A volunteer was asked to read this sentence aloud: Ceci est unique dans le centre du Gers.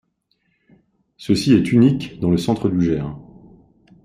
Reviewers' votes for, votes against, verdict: 1, 2, rejected